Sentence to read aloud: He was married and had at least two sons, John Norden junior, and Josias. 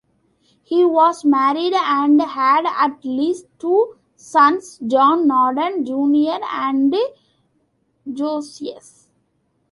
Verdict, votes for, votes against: rejected, 0, 2